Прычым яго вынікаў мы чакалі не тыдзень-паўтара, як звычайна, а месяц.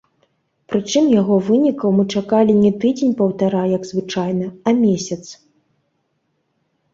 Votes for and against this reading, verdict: 2, 0, accepted